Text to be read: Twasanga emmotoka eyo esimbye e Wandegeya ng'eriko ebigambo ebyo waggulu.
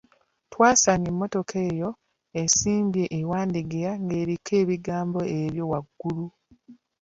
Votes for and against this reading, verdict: 2, 0, accepted